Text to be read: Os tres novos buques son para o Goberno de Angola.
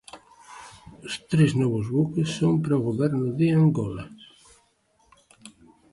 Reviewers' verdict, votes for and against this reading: accepted, 2, 0